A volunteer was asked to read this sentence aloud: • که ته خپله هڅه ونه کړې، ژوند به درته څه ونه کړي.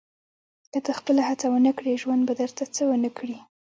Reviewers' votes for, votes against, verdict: 3, 0, accepted